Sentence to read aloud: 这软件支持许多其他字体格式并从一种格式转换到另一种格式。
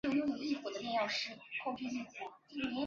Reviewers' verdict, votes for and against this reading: rejected, 0, 2